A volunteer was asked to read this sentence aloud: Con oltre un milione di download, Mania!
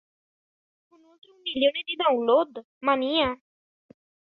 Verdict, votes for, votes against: rejected, 0, 2